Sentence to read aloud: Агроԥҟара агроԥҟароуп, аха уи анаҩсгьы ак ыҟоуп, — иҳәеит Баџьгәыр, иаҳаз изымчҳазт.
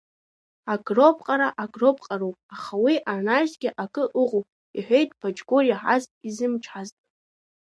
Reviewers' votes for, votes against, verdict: 1, 2, rejected